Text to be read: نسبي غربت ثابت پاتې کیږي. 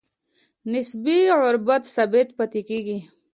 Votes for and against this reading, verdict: 1, 2, rejected